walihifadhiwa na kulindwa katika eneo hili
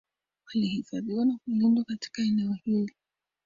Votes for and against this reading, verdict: 0, 2, rejected